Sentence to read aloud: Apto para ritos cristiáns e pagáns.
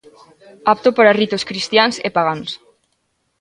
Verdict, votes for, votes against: rejected, 1, 2